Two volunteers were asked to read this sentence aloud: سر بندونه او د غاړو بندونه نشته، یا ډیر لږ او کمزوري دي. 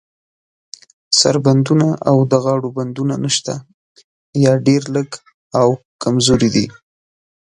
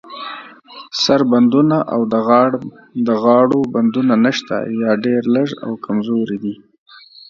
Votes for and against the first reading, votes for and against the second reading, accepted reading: 2, 0, 0, 2, first